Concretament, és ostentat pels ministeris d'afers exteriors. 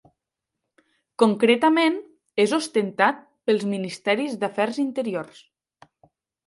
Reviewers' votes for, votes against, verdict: 0, 2, rejected